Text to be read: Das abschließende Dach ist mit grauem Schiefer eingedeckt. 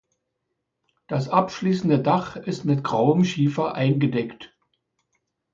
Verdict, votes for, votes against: accepted, 2, 0